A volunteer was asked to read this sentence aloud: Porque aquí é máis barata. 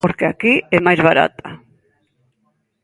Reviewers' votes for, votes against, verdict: 0, 2, rejected